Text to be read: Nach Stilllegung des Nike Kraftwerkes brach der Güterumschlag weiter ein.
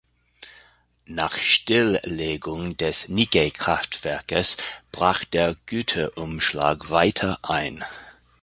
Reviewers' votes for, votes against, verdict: 2, 0, accepted